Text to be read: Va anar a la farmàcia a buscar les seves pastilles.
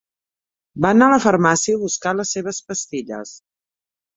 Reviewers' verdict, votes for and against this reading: rejected, 1, 2